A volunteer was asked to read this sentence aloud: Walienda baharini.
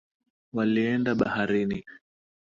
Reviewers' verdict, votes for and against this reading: accepted, 3, 0